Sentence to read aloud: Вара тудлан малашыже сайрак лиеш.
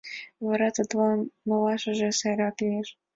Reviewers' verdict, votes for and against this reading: accepted, 2, 0